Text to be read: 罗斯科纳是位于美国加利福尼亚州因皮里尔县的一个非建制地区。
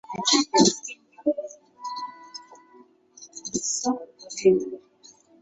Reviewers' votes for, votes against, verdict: 0, 5, rejected